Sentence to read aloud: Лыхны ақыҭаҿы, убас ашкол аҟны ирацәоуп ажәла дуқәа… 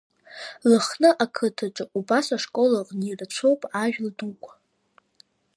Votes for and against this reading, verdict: 1, 2, rejected